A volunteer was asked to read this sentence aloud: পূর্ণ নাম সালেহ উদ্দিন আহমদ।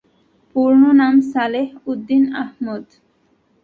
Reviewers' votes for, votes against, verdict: 2, 0, accepted